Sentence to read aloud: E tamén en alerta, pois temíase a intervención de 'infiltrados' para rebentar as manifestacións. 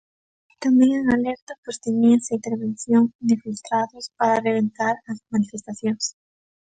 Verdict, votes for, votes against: accepted, 2, 1